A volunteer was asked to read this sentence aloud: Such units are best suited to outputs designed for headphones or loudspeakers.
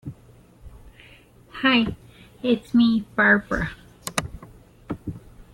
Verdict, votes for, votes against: rejected, 0, 2